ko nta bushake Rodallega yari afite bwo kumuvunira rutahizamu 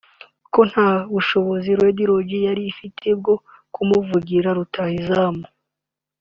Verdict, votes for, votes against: rejected, 1, 2